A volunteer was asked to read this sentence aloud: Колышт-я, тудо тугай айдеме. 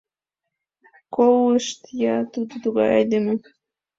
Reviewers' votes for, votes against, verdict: 2, 1, accepted